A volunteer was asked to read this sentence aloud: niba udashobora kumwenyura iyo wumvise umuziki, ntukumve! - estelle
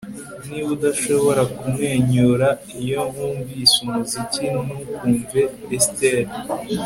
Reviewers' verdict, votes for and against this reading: accepted, 2, 0